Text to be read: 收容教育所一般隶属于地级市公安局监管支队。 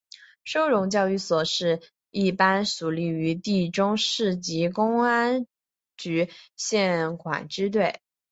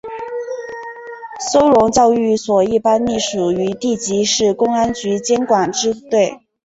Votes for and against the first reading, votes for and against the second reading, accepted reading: 0, 3, 3, 1, second